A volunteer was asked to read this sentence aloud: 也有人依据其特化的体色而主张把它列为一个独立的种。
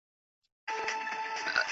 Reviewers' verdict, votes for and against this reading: rejected, 0, 5